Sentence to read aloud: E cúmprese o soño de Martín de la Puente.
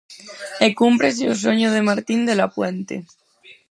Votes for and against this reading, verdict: 2, 4, rejected